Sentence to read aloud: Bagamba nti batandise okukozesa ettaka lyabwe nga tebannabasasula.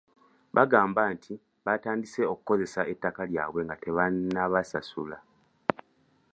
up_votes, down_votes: 2, 0